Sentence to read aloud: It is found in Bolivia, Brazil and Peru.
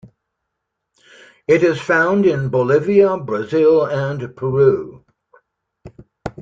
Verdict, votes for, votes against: accepted, 2, 0